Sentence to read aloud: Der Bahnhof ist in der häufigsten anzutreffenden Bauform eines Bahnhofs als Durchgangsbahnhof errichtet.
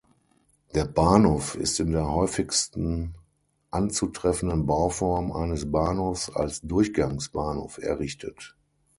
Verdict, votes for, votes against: accepted, 6, 0